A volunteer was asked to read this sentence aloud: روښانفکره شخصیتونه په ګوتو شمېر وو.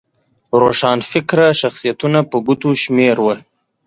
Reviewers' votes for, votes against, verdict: 2, 0, accepted